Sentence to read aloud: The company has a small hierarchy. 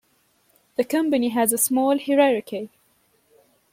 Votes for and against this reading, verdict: 1, 2, rejected